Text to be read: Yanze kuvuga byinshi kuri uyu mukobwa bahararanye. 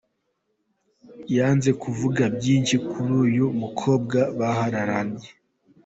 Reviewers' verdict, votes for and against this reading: accepted, 2, 1